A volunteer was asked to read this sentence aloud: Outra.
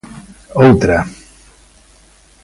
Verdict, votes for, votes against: accepted, 2, 0